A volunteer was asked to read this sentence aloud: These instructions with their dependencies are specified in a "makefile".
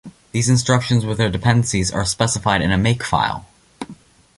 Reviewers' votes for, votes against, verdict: 2, 0, accepted